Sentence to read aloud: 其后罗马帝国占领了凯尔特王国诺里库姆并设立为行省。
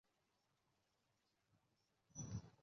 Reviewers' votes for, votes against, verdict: 2, 4, rejected